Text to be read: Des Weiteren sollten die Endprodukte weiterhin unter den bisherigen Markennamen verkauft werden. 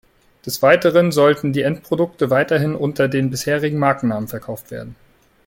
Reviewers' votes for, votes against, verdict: 2, 0, accepted